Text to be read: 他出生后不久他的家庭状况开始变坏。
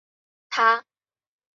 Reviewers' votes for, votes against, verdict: 0, 2, rejected